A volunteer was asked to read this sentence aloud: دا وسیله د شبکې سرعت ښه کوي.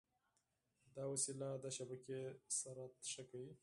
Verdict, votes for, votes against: accepted, 4, 2